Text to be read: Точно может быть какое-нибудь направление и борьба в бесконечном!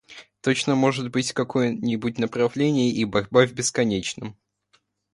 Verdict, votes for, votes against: rejected, 1, 2